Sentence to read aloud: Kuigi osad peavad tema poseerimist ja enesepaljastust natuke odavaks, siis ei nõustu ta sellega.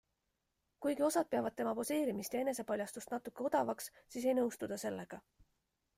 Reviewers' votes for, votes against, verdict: 2, 0, accepted